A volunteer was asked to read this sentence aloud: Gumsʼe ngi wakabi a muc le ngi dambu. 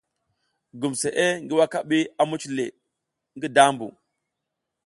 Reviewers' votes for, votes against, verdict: 2, 0, accepted